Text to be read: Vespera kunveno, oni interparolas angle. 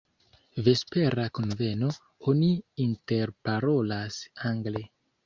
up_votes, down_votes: 2, 0